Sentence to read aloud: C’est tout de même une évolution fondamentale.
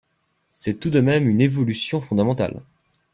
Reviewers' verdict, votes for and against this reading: accepted, 2, 0